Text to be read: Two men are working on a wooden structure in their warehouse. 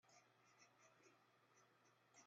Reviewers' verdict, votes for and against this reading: rejected, 0, 3